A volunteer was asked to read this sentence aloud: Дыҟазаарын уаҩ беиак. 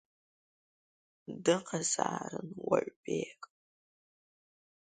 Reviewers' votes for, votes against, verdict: 1, 2, rejected